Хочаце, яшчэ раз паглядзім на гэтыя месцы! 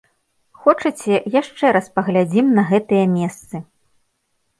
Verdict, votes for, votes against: accepted, 2, 0